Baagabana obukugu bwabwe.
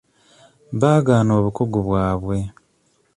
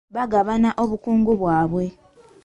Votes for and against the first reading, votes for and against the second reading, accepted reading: 1, 2, 2, 0, second